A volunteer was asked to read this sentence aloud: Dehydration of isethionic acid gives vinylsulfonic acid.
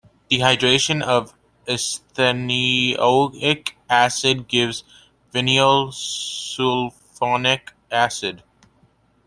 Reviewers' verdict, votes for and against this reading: rejected, 0, 2